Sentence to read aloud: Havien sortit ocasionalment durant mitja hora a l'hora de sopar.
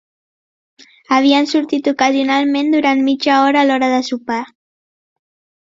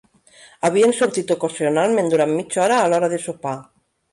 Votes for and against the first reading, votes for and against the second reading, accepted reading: 4, 0, 1, 2, first